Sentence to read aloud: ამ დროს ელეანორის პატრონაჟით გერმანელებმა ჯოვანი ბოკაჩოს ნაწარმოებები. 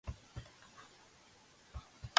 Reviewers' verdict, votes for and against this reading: rejected, 0, 2